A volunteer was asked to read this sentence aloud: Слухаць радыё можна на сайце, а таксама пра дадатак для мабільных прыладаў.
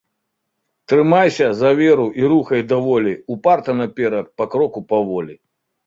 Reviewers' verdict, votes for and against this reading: rejected, 0, 2